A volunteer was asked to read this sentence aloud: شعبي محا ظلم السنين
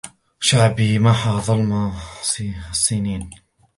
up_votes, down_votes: 1, 2